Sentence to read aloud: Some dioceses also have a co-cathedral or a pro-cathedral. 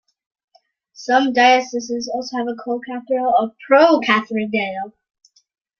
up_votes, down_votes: 0, 2